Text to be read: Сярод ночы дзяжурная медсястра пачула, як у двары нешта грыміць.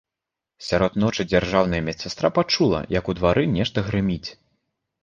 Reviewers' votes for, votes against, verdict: 1, 2, rejected